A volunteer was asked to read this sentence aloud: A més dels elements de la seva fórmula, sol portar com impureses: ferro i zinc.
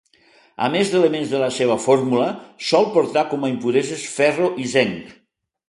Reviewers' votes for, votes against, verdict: 1, 2, rejected